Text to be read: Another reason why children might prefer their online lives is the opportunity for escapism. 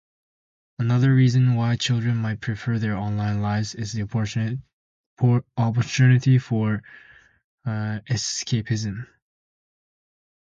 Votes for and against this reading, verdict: 0, 2, rejected